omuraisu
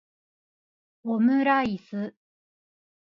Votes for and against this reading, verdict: 2, 1, accepted